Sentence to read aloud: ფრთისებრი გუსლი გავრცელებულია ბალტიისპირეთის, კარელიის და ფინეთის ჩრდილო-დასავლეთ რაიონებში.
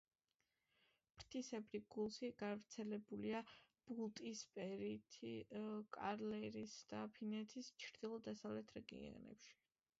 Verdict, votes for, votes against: rejected, 1, 2